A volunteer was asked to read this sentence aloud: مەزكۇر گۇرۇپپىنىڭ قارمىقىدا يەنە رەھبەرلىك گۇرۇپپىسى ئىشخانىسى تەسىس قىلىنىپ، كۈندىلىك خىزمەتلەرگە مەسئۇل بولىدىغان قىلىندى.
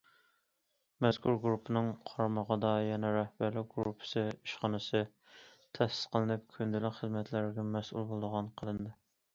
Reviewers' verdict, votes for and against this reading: accepted, 2, 0